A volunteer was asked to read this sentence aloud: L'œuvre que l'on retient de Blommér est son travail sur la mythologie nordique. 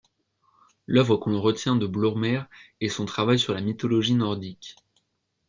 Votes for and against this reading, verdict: 3, 0, accepted